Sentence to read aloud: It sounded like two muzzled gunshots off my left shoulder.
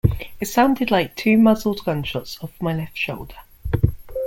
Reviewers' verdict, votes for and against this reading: accepted, 2, 0